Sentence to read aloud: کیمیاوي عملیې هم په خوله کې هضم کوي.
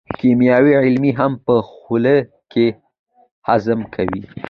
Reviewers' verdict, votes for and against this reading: accepted, 2, 0